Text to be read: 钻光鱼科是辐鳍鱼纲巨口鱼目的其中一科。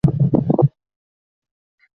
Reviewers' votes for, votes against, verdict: 3, 6, rejected